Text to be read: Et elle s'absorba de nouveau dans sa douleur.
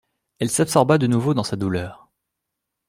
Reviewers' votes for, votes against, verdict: 2, 1, accepted